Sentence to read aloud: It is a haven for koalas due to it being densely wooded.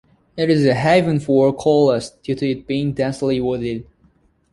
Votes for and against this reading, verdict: 0, 2, rejected